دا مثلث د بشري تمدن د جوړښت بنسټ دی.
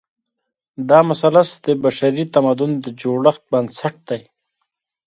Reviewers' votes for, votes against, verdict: 1, 2, rejected